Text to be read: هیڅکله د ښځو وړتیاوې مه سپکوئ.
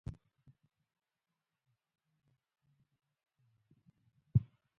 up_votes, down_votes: 0, 2